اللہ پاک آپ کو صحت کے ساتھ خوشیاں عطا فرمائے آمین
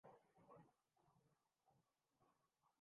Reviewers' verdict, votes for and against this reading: rejected, 0, 2